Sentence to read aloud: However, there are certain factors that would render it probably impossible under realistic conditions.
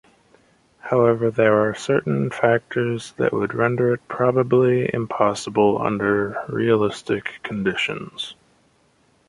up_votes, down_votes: 2, 0